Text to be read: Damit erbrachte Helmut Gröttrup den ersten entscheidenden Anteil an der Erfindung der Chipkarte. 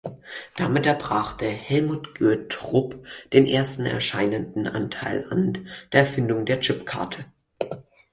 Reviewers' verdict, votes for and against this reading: rejected, 2, 4